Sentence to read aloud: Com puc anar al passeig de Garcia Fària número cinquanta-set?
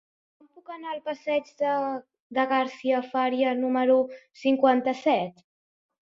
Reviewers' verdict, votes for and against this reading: rejected, 0, 2